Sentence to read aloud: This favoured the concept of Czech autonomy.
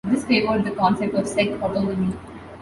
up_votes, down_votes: 1, 2